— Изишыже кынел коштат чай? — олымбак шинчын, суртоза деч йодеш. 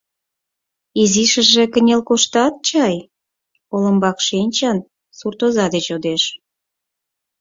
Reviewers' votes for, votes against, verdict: 4, 0, accepted